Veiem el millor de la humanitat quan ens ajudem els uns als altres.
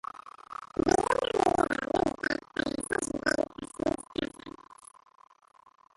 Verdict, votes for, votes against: rejected, 0, 2